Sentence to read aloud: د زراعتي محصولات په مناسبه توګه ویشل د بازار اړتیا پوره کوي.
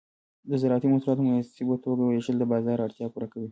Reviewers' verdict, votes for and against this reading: rejected, 0, 2